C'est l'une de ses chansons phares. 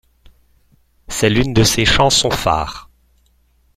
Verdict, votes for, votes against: rejected, 1, 2